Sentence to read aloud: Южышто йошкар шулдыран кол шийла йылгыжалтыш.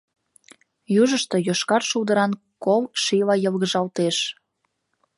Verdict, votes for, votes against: rejected, 1, 2